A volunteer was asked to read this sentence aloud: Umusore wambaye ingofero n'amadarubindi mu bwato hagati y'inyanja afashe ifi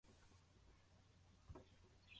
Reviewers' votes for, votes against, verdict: 0, 2, rejected